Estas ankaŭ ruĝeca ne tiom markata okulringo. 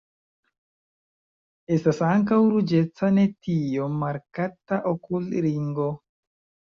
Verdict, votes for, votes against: accepted, 2, 1